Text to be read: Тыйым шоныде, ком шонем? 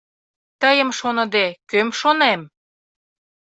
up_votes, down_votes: 0, 2